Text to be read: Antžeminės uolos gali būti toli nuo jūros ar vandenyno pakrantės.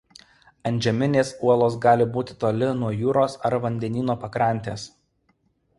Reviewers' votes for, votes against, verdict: 2, 0, accepted